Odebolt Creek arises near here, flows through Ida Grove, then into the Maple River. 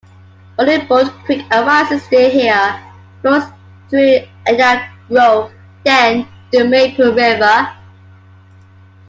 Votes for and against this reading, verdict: 2, 1, accepted